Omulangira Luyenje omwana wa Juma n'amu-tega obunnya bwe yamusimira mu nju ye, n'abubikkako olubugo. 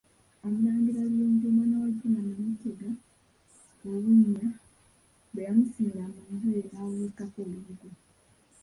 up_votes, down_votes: 0, 2